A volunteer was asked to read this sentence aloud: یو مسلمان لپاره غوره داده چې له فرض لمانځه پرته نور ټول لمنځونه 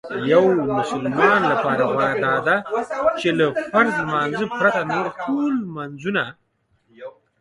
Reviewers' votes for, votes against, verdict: 1, 2, rejected